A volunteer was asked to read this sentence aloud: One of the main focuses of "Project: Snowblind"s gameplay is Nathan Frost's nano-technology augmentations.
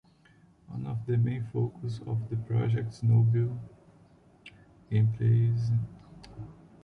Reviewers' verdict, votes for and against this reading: rejected, 1, 2